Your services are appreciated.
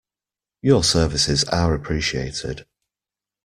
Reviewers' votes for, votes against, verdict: 2, 0, accepted